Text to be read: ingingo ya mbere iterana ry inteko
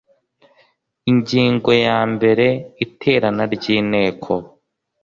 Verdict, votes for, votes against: accepted, 2, 0